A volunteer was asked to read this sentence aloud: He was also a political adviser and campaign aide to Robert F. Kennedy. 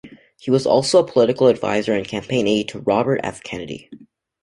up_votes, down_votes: 2, 0